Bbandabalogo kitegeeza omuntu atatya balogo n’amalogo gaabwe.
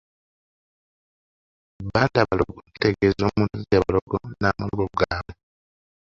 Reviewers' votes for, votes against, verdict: 1, 2, rejected